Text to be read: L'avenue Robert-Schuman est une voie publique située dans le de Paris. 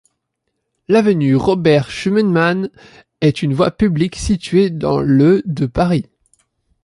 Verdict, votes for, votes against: rejected, 1, 2